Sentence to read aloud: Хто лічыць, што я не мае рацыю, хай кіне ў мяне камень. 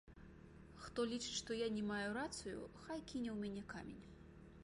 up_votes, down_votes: 2, 1